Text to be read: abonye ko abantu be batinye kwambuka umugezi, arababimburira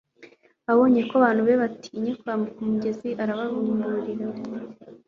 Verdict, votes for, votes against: accepted, 3, 0